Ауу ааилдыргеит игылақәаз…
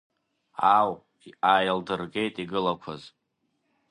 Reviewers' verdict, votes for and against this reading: rejected, 1, 2